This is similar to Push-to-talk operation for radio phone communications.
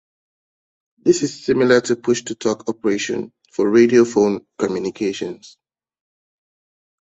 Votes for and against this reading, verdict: 3, 0, accepted